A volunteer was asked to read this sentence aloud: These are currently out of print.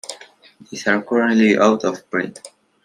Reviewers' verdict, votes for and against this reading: accepted, 2, 0